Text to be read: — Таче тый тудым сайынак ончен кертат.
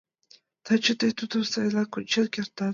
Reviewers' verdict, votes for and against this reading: accepted, 2, 0